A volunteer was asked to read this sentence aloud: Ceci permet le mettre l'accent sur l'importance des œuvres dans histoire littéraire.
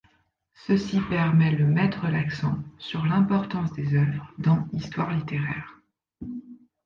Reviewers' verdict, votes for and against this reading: rejected, 1, 2